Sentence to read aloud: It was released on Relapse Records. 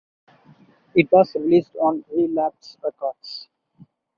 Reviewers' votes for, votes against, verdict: 4, 0, accepted